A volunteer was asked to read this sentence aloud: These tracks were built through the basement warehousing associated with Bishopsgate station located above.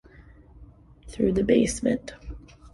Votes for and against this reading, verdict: 0, 2, rejected